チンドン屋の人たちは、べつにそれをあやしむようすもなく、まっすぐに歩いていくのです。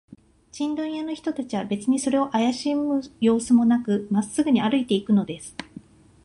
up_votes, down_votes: 2, 0